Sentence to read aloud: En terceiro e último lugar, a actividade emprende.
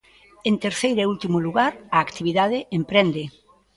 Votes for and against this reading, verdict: 2, 0, accepted